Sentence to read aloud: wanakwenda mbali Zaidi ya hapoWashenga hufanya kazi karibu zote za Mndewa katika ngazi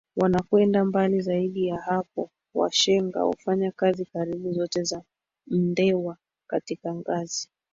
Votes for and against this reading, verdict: 2, 3, rejected